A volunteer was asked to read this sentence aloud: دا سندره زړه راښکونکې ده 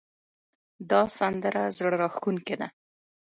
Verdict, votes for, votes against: rejected, 1, 2